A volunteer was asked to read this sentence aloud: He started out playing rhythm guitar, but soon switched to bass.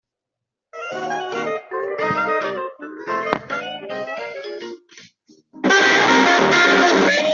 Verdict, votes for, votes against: rejected, 0, 2